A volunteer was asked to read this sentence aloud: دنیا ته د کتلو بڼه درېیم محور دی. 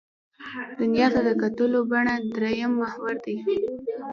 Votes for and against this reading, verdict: 2, 0, accepted